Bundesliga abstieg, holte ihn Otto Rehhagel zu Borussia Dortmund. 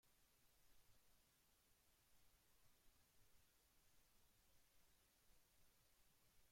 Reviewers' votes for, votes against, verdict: 0, 2, rejected